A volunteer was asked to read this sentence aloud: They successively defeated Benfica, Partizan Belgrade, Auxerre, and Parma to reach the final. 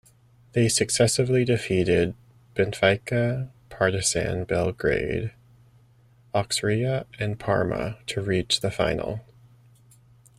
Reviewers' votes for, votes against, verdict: 1, 2, rejected